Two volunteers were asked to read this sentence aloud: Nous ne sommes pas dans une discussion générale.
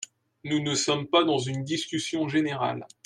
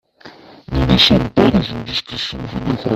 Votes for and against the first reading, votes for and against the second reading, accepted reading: 2, 0, 0, 2, first